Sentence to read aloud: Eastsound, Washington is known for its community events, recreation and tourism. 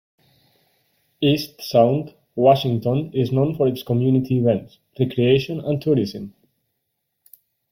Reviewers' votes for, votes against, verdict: 2, 0, accepted